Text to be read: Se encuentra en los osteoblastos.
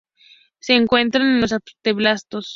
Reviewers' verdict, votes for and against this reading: rejected, 0, 2